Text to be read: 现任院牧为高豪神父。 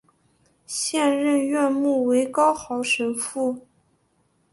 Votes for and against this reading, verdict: 2, 0, accepted